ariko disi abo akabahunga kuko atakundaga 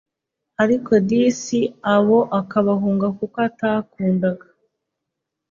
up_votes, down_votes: 2, 0